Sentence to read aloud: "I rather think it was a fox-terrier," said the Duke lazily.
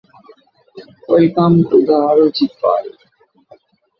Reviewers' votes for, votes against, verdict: 1, 2, rejected